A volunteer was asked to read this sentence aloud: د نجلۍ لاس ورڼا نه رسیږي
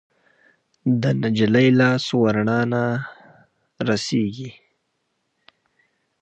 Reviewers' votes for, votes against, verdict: 1, 2, rejected